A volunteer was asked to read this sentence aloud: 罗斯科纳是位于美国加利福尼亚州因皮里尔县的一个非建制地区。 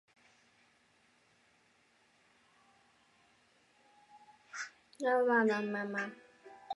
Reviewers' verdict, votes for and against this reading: accepted, 5, 1